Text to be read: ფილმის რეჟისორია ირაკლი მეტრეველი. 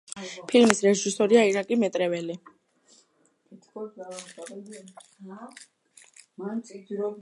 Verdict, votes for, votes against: accepted, 2, 1